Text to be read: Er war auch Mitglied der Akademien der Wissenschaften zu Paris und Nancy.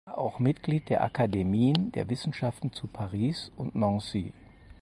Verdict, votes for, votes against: rejected, 0, 4